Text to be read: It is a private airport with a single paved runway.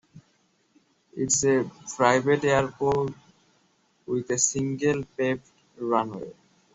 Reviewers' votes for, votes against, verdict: 1, 2, rejected